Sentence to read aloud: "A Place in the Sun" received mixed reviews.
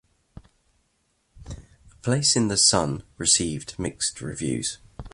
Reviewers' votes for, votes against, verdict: 0, 2, rejected